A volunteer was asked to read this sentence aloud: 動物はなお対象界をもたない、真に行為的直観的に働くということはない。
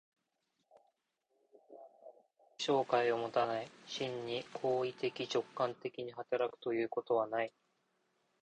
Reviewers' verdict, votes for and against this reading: rejected, 0, 2